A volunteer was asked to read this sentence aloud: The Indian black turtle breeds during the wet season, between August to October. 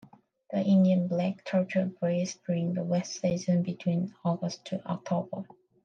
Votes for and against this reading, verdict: 2, 1, accepted